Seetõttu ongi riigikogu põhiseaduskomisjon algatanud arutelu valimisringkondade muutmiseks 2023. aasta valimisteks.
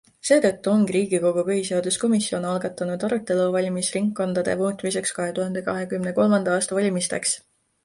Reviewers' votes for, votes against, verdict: 0, 2, rejected